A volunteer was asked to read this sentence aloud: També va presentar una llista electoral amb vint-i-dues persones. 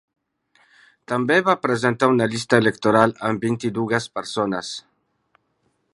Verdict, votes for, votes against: rejected, 1, 2